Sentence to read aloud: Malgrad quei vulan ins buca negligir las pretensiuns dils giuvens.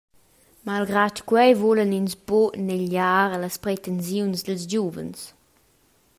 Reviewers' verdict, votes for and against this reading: accepted, 2, 1